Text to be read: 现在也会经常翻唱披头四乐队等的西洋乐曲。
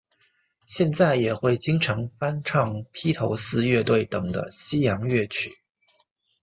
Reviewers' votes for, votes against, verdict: 2, 0, accepted